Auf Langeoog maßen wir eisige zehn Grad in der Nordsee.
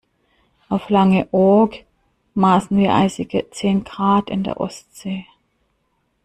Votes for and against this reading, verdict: 0, 2, rejected